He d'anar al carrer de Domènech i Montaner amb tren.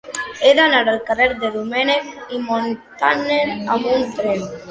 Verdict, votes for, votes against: rejected, 0, 4